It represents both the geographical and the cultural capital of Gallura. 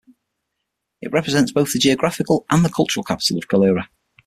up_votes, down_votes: 6, 0